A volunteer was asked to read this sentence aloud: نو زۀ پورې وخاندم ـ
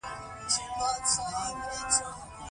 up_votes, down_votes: 2, 0